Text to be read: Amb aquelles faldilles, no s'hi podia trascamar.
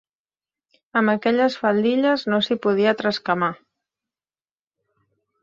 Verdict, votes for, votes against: accepted, 3, 0